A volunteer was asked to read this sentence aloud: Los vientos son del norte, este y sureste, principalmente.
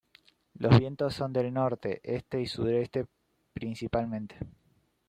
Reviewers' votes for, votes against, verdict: 1, 2, rejected